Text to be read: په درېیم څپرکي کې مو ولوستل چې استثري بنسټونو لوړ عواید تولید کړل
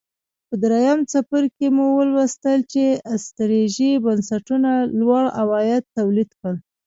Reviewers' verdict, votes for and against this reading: rejected, 1, 2